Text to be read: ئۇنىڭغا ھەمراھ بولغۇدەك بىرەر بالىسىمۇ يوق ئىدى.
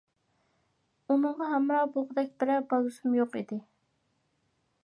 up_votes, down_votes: 2, 1